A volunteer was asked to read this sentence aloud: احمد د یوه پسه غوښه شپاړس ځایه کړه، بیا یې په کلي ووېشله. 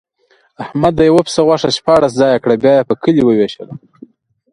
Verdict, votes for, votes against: accepted, 2, 0